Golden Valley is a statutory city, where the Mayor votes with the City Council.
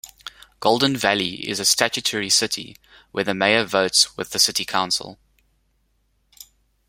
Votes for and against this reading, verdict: 2, 0, accepted